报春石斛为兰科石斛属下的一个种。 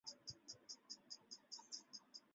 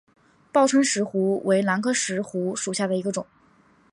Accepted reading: second